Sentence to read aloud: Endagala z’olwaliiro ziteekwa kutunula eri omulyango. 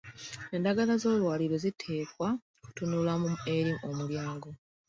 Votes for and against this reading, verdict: 1, 2, rejected